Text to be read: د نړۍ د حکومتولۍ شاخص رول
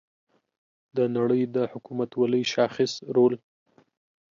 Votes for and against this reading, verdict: 2, 0, accepted